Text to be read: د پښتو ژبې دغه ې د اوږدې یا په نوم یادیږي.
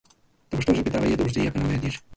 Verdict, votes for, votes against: rejected, 1, 2